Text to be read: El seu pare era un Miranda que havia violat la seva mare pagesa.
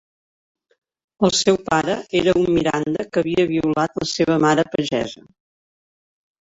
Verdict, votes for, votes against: accepted, 3, 0